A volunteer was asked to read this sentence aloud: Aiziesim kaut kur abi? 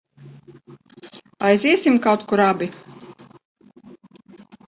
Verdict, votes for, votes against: accepted, 2, 1